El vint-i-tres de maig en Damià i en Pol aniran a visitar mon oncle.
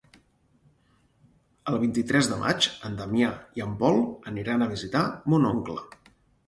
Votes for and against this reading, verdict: 4, 0, accepted